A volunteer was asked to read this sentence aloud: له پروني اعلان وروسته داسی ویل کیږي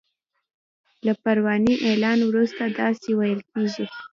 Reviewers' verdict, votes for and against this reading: accepted, 2, 0